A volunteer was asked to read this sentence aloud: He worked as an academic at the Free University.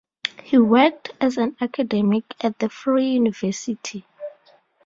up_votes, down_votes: 2, 2